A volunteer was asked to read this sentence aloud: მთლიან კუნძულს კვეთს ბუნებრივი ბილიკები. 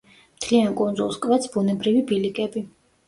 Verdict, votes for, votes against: accepted, 2, 0